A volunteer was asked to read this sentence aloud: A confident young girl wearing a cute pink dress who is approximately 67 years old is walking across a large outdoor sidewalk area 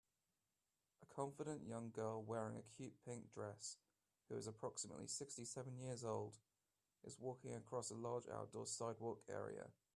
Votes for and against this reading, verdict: 0, 2, rejected